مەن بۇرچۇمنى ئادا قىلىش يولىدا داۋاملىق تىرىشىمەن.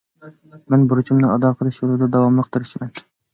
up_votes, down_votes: 2, 0